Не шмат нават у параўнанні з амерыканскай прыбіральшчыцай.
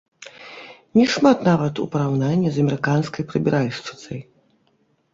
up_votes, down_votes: 1, 2